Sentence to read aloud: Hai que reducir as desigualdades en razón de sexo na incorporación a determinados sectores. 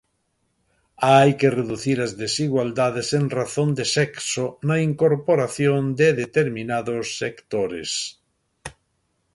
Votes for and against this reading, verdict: 1, 2, rejected